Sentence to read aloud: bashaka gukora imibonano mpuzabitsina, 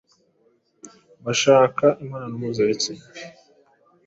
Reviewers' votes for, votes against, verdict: 0, 2, rejected